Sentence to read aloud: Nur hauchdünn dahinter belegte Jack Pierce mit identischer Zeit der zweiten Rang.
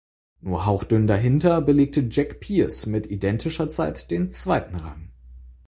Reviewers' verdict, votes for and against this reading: accepted, 4, 0